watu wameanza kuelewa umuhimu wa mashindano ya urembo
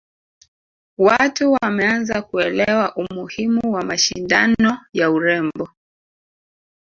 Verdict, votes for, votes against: rejected, 1, 2